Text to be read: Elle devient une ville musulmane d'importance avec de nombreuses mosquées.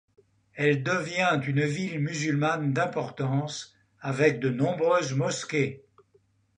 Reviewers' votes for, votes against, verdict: 2, 1, accepted